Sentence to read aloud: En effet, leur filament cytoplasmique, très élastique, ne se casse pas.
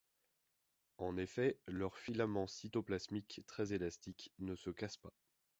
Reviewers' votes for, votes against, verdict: 2, 0, accepted